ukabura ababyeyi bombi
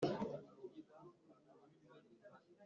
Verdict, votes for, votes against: rejected, 1, 3